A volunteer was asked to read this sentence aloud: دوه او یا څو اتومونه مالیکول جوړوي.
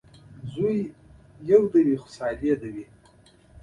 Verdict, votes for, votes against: rejected, 0, 2